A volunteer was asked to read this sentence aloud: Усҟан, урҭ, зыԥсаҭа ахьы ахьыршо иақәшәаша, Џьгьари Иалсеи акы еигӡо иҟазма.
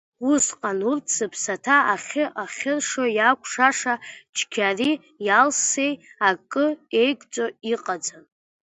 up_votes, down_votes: 0, 2